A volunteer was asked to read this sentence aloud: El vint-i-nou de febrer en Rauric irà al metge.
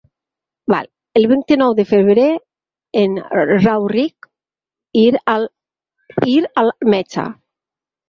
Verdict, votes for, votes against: rejected, 0, 4